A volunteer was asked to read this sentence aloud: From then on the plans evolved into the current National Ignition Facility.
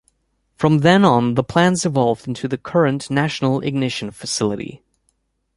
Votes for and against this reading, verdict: 2, 0, accepted